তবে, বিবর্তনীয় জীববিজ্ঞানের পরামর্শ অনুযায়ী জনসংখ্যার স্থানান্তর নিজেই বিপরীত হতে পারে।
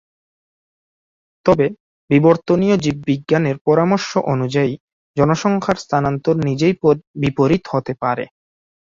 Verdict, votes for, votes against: accepted, 2, 0